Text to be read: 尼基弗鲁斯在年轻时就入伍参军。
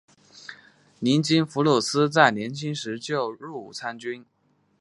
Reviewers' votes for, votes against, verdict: 2, 0, accepted